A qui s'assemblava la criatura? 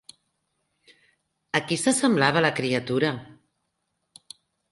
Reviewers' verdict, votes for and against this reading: accepted, 3, 1